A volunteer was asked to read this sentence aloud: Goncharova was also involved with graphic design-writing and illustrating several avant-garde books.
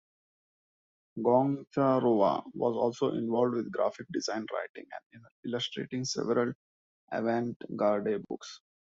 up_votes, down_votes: 1, 2